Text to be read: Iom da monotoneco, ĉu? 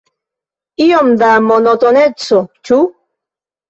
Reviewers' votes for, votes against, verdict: 3, 2, accepted